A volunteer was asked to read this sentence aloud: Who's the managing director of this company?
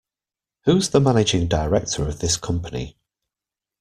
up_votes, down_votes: 2, 0